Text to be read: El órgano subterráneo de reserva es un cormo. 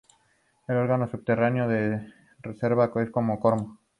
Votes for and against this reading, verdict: 0, 2, rejected